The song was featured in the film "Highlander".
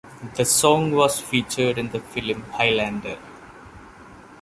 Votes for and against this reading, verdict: 2, 0, accepted